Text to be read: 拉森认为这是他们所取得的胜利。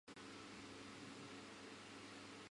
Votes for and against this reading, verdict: 1, 2, rejected